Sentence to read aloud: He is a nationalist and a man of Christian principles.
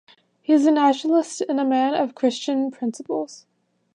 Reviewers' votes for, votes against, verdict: 2, 0, accepted